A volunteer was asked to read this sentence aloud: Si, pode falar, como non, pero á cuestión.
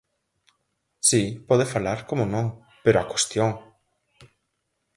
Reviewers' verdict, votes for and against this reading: accepted, 4, 0